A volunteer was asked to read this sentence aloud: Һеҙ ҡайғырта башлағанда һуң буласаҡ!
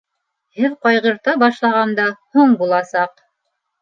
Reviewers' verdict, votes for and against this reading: accepted, 2, 0